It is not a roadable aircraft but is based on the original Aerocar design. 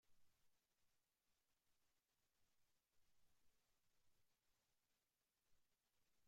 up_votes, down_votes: 0, 2